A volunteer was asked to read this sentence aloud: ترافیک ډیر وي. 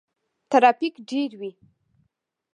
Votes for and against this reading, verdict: 0, 2, rejected